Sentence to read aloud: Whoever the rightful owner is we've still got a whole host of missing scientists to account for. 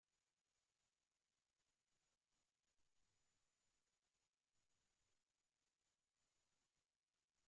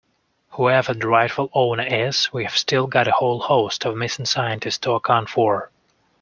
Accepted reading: second